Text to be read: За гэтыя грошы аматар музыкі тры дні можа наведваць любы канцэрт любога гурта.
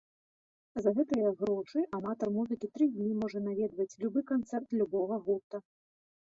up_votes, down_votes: 1, 2